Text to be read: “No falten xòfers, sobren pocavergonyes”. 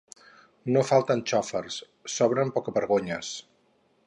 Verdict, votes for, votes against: accepted, 4, 0